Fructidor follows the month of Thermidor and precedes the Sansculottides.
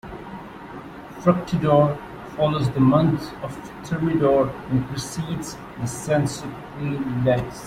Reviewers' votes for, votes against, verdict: 1, 2, rejected